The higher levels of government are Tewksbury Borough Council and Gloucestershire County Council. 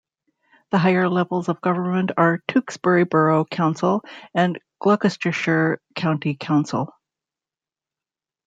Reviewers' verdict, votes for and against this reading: accepted, 2, 1